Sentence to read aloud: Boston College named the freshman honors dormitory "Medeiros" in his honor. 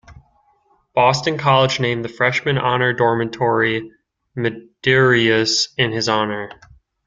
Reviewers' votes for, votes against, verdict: 0, 2, rejected